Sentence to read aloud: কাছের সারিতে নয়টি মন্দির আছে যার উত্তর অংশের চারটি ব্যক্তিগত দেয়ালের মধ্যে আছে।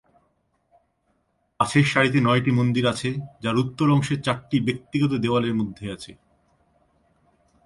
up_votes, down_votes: 2, 0